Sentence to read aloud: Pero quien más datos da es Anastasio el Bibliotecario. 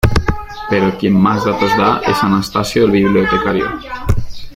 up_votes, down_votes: 0, 2